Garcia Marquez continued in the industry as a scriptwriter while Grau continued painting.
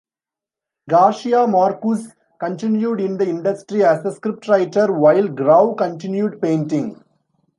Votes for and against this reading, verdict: 1, 2, rejected